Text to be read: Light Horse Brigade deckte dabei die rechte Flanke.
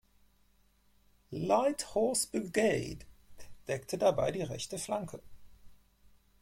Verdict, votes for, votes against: rejected, 0, 4